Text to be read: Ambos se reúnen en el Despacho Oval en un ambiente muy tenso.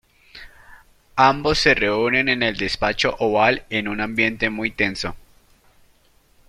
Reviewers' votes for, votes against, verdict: 2, 0, accepted